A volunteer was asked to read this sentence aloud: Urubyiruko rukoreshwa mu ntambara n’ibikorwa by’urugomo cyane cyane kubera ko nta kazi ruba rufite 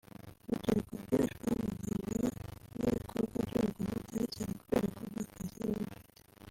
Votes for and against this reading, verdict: 2, 3, rejected